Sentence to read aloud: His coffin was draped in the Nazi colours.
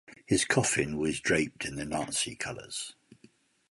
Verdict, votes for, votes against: accepted, 2, 0